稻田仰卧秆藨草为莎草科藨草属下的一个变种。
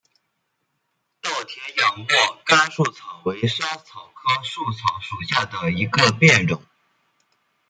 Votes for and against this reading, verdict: 0, 2, rejected